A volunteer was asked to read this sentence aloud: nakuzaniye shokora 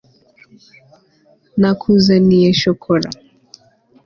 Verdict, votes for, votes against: accepted, 2, 0